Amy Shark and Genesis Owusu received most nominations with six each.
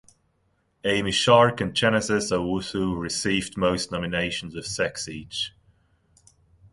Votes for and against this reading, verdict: 2, 0, accepted